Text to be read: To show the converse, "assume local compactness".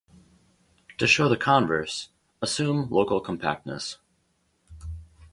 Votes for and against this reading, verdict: 4, 0, accepted